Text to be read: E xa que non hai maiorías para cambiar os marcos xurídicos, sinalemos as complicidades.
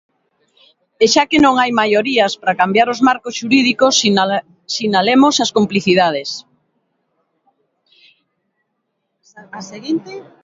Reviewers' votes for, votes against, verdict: 2, 7, rejected